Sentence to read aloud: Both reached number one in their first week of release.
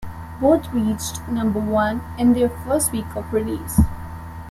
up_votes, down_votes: 3, 0